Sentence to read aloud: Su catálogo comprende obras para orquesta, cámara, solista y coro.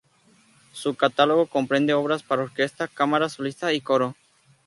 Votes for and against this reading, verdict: 0, 2, rejected